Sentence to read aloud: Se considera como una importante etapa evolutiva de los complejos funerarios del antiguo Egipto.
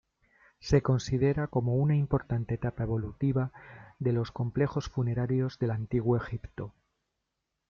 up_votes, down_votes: 2, 1